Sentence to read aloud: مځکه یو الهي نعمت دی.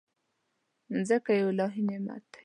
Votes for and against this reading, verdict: 2, 0, accepted